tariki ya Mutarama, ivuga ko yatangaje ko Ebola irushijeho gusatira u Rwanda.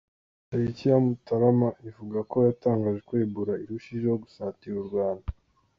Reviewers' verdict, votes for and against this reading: accepted, 2, 0